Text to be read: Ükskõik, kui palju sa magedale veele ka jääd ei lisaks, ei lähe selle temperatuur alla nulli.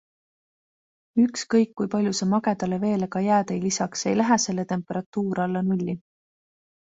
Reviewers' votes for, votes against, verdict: 2, 0, accepted